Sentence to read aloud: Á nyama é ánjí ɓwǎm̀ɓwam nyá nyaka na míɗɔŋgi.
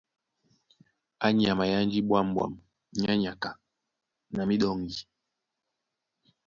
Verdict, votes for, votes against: accepted, 2, 0